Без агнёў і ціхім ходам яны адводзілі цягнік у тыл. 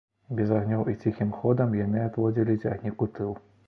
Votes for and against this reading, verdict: 2, 0, accepted